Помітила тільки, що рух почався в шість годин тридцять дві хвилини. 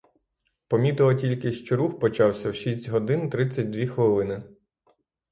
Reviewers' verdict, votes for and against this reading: accepted, 6, 0